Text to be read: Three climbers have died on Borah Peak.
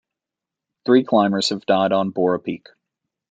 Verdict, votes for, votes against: accepted, 2, 0